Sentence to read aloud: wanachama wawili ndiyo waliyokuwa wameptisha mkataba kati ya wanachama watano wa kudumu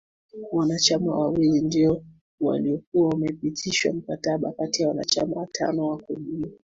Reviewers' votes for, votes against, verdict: 2, 0, accepted